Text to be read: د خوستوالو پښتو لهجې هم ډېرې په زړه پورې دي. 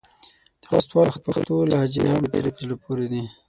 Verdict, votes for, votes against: rejected, 0, 6